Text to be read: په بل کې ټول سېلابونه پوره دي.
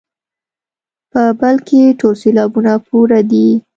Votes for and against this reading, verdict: 2, 0, accepted